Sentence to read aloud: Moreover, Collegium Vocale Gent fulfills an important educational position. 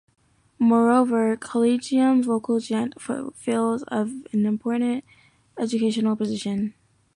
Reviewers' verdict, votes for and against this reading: rejected, 1, 2